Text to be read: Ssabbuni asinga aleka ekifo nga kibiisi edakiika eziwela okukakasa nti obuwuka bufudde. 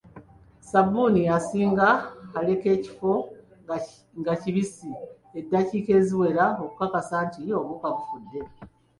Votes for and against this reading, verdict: 2, 1, accepted